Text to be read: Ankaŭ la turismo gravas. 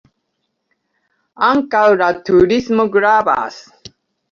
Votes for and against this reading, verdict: 3, 0, accepted